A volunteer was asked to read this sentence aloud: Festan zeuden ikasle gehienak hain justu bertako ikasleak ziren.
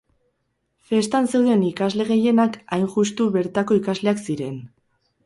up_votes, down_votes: 4, 0